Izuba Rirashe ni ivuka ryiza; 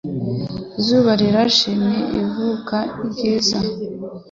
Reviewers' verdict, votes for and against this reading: accepted, 2, 0